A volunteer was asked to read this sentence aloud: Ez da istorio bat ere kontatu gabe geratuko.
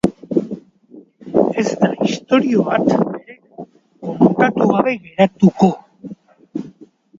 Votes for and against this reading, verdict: 1, 2, rejected